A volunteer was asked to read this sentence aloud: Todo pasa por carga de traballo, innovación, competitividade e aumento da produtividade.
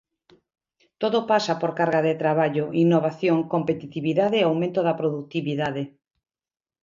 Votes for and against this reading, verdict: 2, 0, accepted